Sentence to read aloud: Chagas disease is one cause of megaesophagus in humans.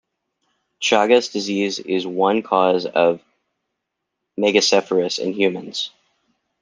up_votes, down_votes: 0, 2